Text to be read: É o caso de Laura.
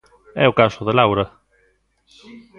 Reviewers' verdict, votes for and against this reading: rejected, 1, 2